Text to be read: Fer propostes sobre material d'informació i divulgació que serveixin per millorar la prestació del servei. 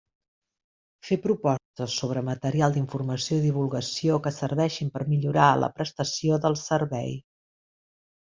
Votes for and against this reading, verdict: 3, 1, accepted